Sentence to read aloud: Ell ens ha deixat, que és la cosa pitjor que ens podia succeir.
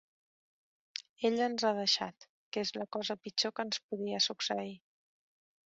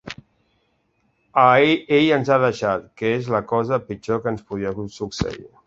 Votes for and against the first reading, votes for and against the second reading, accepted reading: 2, 0, 0, 2, first